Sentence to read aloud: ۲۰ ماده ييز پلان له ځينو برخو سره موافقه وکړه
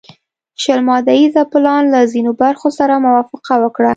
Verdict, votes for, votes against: rejected, 0, 2